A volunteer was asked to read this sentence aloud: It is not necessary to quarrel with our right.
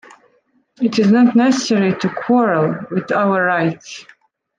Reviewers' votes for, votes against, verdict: 2, 1, accepted